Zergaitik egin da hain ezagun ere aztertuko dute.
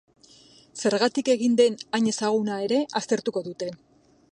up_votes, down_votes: 1, 2